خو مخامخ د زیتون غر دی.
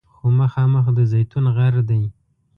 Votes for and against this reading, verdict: 2, 0, accepted